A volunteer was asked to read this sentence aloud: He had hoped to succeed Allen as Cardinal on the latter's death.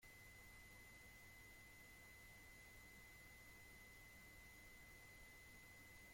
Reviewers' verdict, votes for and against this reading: rejected, 0, 2